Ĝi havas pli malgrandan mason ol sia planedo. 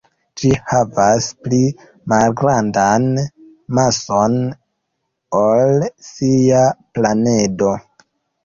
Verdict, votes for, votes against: accepted, 2, 0